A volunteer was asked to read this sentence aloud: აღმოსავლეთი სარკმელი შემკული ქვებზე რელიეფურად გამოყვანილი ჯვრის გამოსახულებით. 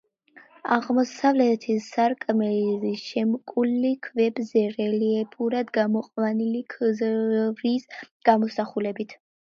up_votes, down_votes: 0, 2